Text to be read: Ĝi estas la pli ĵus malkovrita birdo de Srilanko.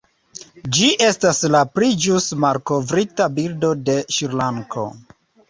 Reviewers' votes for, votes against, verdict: 2, 0, accepted